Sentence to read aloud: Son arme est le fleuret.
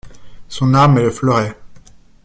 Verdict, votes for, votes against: rejected, 1, 2